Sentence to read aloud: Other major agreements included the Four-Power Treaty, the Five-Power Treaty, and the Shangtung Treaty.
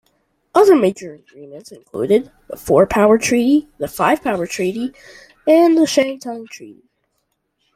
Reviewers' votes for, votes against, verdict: 1, 2, rejected